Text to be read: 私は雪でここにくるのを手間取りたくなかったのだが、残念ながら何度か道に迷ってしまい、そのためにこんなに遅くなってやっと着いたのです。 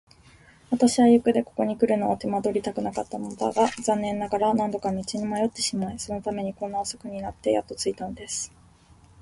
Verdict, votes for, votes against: accepted, 8, 4